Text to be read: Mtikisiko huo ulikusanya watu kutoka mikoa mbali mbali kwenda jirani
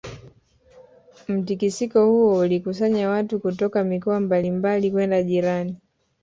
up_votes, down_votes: 3, 1